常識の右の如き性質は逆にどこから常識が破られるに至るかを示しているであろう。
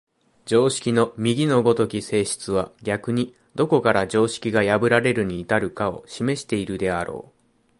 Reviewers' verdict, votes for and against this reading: accepted, 2, 0